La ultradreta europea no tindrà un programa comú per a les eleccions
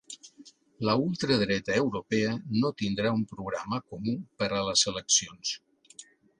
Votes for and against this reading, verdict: 2, 0, accepted